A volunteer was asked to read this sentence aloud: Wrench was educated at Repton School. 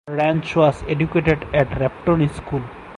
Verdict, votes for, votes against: accepted, 4, 0